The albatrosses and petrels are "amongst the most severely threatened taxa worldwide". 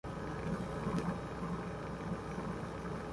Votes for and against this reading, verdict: 0, 2, rejected